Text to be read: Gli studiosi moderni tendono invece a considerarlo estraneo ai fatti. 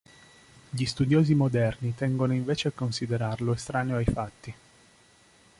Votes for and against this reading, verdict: 1, 2, rejected